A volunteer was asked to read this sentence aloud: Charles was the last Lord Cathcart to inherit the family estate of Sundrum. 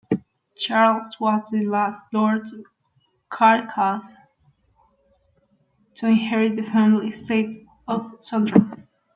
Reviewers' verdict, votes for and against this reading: rejected, 0, 2